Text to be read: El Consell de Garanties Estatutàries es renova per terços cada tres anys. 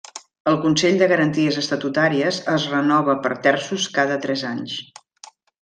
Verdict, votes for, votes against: accepted, 3, 0